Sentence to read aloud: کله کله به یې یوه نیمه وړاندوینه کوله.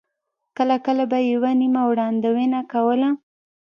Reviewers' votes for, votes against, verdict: 2, 1, accepted